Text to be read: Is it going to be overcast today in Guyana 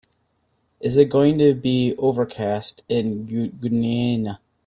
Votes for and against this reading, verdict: 0, 2, rejected